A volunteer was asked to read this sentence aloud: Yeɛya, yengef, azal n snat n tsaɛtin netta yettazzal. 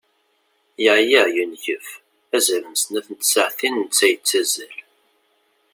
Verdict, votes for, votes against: accepted, 2, 0